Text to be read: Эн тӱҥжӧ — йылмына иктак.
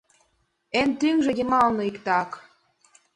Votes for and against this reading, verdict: 2, 3, rejected